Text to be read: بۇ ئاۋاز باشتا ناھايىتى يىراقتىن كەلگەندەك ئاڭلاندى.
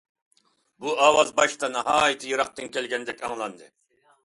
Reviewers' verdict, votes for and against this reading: accepted, 2, 0